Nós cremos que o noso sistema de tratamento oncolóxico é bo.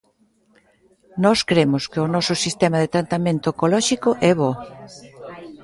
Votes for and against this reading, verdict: 0, 2, rejected